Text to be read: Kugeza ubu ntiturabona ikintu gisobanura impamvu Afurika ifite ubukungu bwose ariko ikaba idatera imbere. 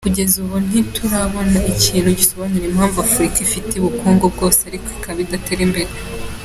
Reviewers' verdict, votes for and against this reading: accepted, 2, 0